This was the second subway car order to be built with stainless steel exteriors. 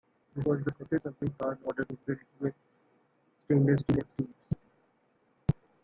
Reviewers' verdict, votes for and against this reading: rejected, 0, 2